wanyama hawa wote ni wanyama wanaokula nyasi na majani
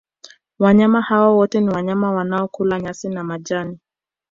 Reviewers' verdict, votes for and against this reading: accepted, 2, 0